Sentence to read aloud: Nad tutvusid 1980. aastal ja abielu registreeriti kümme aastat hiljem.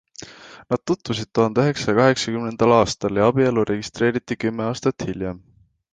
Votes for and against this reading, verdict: 0, 2, rejected